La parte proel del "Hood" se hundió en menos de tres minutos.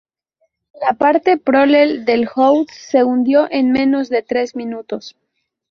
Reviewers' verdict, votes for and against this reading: rejected, 2, 2